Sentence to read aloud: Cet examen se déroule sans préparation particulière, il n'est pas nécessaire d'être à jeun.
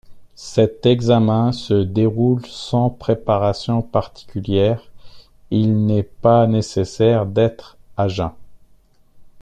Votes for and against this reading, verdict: 0, 2, rejected